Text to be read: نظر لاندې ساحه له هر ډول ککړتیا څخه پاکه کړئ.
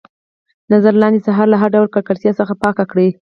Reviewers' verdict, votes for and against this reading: accepted, 4, 0